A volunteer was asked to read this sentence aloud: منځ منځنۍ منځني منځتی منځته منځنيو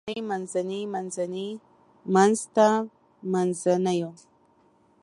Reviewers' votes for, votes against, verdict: 1, 2, rejected